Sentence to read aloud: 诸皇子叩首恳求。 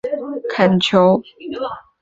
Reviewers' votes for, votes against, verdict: 0, 3, rejected